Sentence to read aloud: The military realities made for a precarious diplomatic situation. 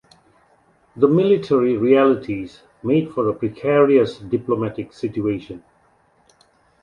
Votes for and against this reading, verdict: 2, 0, accepted